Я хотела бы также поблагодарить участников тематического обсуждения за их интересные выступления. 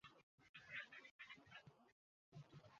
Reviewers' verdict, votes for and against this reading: rejected, 0, 2